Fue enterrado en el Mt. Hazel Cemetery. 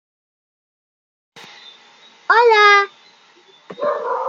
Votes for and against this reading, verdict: 0, 2, rejected